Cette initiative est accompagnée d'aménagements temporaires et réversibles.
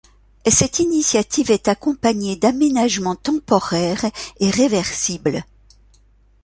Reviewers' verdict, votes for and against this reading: accepted, 2, 0